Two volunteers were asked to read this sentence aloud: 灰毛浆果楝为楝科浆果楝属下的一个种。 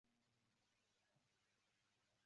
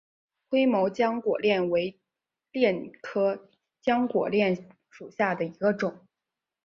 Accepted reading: second